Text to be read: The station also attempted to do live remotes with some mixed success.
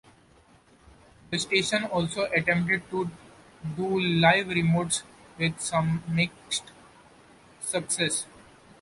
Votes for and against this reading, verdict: 1, 2, rejected